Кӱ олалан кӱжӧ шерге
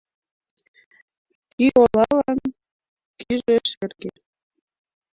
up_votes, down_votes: 0, 2